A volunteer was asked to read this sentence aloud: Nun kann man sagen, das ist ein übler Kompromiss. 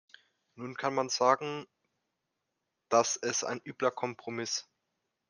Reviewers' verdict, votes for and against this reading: accepted, 2, 1